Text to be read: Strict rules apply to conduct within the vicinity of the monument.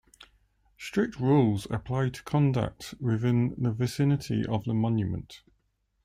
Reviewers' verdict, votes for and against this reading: accepted, 2, 0